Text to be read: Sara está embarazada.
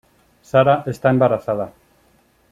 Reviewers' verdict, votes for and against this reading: accepted, 2, 0